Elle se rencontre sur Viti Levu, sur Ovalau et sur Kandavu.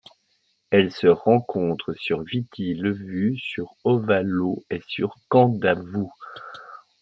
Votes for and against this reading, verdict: 2, 0, accepted